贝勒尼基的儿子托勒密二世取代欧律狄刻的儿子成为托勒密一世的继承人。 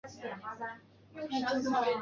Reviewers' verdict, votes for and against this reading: rejected, 2, 4